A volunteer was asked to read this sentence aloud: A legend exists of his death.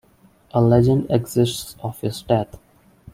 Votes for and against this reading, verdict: 2, 0, accepted